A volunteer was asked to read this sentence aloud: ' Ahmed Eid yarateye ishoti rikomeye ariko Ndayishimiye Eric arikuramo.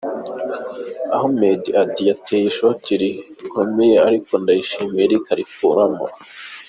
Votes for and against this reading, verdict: 2, 1, accepted